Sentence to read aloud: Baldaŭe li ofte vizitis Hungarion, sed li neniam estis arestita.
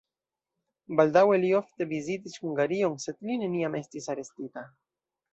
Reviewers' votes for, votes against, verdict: 2, 0, accepted